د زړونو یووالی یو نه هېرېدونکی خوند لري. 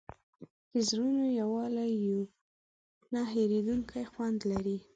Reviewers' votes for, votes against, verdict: 2, 0, accepted